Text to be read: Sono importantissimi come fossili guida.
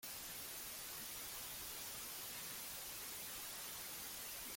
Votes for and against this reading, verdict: 0, 2, rejected